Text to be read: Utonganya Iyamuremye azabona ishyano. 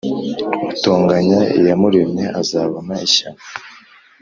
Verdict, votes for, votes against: accepted, 2, 0